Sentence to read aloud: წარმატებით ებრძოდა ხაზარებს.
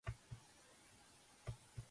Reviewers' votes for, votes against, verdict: 0, 2, rejected